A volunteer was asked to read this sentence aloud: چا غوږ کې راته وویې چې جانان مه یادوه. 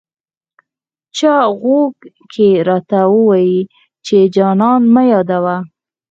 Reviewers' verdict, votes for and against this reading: accepted, 4, 0